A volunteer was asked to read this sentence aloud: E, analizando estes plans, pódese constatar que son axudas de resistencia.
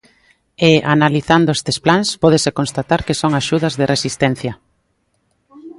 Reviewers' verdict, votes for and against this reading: accepted, 2, 0